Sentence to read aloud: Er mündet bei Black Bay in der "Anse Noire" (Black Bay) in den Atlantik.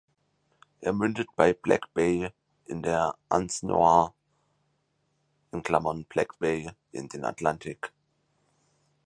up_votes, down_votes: 0, 4